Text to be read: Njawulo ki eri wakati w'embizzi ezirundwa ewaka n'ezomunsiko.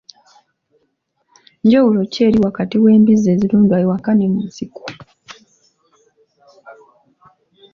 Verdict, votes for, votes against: rejected, 0, 2